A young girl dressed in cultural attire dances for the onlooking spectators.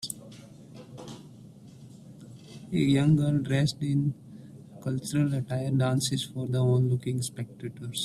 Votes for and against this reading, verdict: 1, 2, rejected